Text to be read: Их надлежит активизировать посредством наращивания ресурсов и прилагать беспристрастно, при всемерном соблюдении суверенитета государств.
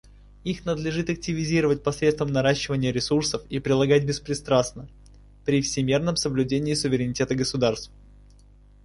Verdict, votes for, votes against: accepted, 2, 0